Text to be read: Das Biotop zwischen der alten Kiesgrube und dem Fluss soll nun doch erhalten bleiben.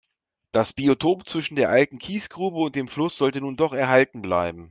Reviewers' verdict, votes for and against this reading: accepted, 2, 0